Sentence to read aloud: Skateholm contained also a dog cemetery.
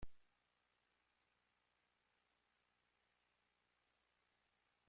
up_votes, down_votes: 0, 2